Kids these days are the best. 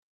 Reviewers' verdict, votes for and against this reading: rejected, 1, 2